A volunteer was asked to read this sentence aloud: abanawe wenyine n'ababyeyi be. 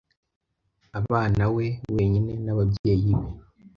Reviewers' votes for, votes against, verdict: 2, 0, accepted